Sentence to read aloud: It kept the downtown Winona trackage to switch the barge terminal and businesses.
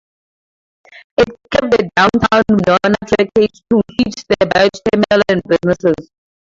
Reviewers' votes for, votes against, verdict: 0, 4, rejected